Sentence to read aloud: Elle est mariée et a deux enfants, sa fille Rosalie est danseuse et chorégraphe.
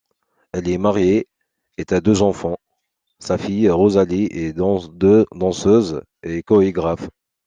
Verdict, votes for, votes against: rejected, 0, 2